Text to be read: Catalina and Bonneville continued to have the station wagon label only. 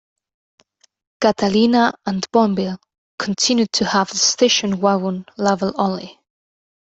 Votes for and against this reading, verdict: 2, 0, accepted